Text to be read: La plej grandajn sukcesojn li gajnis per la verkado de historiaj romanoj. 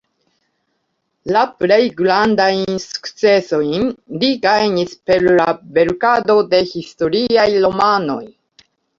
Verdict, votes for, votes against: accepted, 2, 0